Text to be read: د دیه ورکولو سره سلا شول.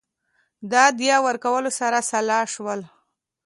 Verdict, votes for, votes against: accepted, 3, 0